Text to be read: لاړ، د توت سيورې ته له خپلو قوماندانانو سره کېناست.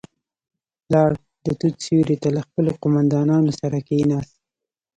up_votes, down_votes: 2, 0